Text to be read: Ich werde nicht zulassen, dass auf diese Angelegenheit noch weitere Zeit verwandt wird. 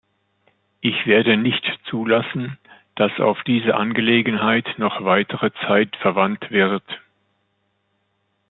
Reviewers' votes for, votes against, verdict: 2, 0, accepted